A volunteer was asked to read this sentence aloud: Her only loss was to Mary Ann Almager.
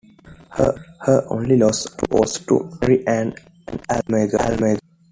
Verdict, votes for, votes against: rejected, 0, 2